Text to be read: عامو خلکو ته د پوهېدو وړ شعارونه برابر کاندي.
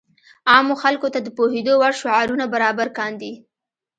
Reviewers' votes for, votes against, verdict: 2, 0, accepted